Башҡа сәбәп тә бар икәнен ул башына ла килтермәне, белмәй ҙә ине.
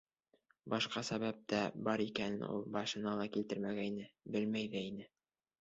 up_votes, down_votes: 1, 2